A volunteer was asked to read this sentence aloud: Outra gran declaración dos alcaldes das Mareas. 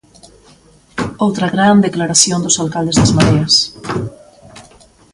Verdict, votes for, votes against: accepted, 2, 0